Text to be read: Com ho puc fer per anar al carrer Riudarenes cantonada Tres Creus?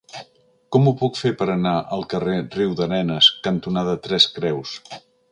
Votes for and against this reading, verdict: 2, 0, accepted